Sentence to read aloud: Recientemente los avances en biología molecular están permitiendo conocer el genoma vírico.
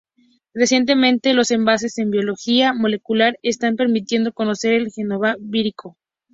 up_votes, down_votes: 0, 2